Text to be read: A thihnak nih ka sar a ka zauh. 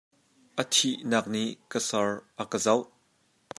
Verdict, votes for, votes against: rejected, 1, 2